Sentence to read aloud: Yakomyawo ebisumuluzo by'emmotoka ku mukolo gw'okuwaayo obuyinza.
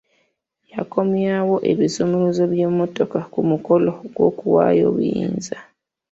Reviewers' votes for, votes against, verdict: 3, 0, accepted